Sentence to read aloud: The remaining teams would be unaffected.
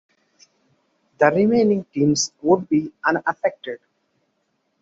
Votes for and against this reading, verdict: 2, 0, accepted